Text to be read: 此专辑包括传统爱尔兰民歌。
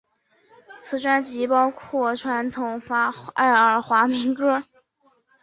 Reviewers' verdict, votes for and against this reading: rejected, 0, 3